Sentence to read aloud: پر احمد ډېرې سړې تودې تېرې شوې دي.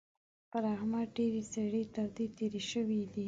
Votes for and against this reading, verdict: 2, 0, accepted